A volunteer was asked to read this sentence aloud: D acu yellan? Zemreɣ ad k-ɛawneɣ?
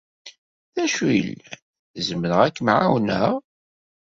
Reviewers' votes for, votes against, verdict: 1, 2, rejected